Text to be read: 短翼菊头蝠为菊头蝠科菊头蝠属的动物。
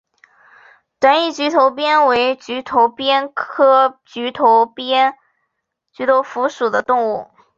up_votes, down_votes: 0, 2